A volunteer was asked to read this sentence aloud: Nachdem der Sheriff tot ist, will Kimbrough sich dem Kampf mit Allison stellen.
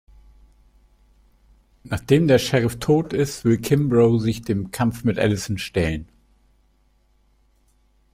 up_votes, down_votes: 2, 0